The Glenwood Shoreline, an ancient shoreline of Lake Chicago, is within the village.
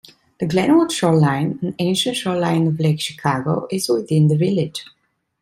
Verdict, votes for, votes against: accepted, 2, 0